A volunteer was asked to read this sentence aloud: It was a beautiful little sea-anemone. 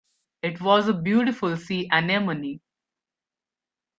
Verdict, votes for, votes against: rejected, 0, 2